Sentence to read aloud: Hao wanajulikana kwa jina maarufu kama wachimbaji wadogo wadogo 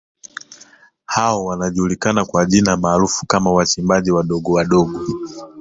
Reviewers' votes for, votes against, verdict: 2, 1, accepted